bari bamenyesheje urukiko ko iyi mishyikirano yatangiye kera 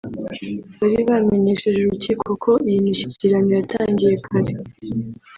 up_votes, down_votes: 0, 2